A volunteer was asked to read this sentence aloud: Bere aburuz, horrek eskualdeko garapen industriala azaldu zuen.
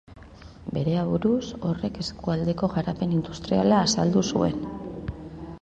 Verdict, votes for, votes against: accepted, 2, 1